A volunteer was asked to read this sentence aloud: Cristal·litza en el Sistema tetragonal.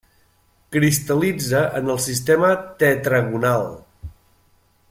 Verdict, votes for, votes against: accepted, 3, 0